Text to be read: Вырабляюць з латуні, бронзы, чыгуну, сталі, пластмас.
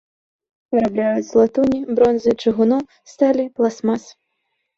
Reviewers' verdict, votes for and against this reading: accepted, 2, 1